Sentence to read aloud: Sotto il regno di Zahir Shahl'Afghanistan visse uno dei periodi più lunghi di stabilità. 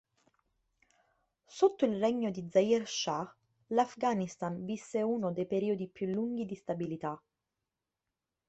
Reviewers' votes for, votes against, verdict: 2, 0, accepted